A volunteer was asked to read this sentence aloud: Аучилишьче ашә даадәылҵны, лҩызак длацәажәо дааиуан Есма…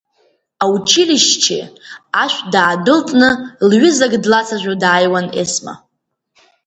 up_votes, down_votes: 1, 2